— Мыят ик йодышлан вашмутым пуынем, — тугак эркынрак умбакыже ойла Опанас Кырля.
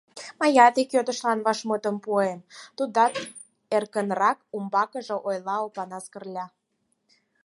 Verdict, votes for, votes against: rejected, 0, 4